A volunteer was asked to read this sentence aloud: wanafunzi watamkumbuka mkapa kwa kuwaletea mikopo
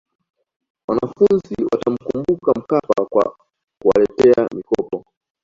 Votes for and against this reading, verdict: 2, 1, accepted